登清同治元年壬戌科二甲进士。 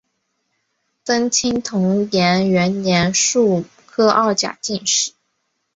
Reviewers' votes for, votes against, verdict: 1, 3, rejected